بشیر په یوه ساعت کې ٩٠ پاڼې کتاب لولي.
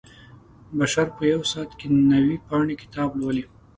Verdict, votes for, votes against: rejected, 0, 2